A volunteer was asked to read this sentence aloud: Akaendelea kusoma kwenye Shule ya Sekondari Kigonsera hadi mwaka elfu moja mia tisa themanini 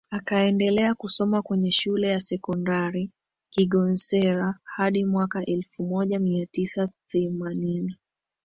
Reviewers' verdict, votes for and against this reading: accepted, 2, 0